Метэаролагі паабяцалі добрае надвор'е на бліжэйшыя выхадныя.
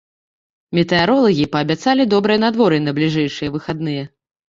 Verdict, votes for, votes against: accepted, 3, 0